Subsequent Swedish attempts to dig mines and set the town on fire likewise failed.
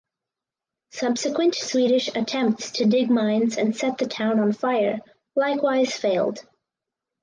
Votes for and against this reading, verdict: 2, 2, rejected